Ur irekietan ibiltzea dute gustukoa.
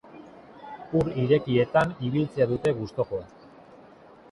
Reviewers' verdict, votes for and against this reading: rejected, 1, 2